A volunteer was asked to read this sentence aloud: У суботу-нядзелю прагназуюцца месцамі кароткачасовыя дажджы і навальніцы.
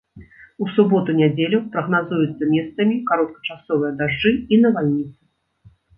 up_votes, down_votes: 1, 2